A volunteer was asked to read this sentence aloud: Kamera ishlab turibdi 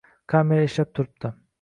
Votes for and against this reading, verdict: 1, 2, rejected